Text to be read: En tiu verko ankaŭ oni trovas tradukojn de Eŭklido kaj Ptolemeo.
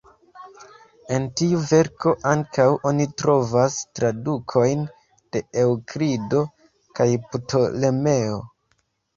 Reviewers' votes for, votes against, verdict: 2, 1, accepted